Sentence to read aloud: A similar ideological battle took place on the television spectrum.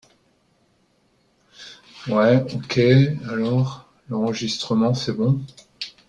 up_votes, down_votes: 0, 2